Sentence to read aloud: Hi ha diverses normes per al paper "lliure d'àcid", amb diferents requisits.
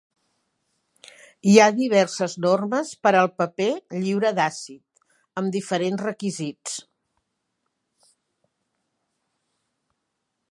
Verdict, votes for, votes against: accepted, 2, 0